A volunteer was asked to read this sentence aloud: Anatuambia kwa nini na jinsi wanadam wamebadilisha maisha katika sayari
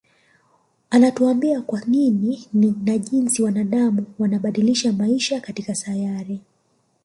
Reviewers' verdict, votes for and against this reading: rejected, 1, 2